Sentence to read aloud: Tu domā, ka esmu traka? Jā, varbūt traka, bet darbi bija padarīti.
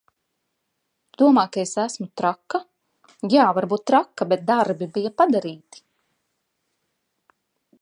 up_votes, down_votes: 0, 2